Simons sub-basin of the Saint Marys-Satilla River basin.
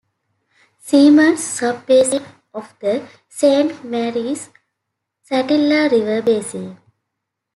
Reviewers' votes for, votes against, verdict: 1, 2, rejected